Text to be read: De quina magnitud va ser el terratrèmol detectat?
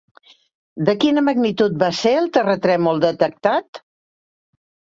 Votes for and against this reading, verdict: 3, 0, accepted